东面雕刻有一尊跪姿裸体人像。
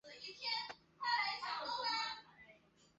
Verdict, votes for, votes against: rejected, 1, 2